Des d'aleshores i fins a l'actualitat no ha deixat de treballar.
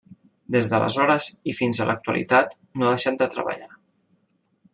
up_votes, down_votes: 2, 0